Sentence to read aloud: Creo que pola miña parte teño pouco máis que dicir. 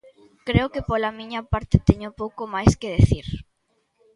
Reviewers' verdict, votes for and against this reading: accepted, 2, 1